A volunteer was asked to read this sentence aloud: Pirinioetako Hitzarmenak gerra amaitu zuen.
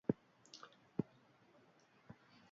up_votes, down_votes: 0, 2